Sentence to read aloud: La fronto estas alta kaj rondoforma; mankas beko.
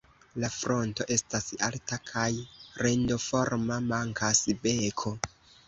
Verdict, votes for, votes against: rejected, 0, 2